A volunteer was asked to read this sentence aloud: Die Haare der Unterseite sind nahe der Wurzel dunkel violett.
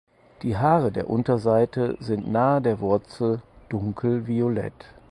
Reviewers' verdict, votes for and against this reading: accepted, 4, 0